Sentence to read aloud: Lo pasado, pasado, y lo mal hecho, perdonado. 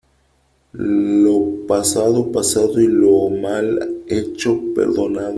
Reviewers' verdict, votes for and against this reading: rejected, 1, 2